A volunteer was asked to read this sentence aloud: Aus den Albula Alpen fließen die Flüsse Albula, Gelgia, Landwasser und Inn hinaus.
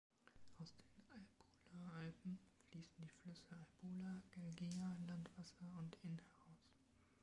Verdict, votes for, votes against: rejected, 0, 3